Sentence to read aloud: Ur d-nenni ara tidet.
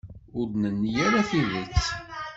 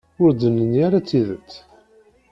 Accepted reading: first